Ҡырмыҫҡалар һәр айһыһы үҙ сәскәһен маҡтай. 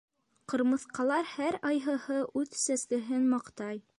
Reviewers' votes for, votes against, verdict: 0, 2, rejected